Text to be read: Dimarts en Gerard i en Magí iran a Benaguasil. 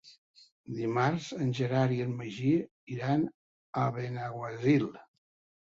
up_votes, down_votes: 3, 0